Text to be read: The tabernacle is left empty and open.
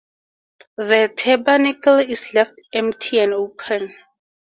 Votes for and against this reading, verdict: 4, 0, accepted